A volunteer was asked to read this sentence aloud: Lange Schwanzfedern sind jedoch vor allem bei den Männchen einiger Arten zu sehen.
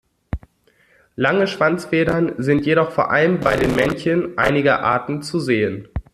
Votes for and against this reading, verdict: 0, 2, rejected